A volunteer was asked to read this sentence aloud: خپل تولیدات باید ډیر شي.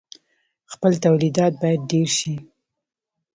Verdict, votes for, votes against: accepted, 2, 0